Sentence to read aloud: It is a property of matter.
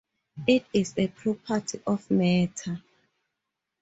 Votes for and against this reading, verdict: 2, 4, rejected